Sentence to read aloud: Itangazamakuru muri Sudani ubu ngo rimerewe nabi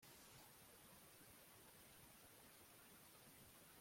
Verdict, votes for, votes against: rejected, 0, 2